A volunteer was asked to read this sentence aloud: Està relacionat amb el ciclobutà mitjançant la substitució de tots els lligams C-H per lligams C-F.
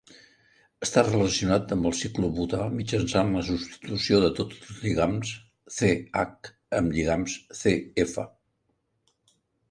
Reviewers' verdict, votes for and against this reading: rejected, 0, 2